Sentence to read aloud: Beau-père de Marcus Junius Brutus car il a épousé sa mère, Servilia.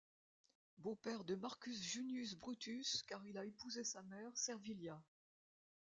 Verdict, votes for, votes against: rejected, 0, 2